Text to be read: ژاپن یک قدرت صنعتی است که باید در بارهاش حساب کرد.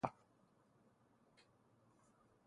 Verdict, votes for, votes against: rejected, 0, 3